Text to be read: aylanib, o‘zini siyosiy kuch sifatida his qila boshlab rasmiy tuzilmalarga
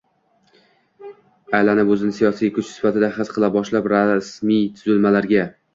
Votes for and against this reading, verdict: 1, 2, rejected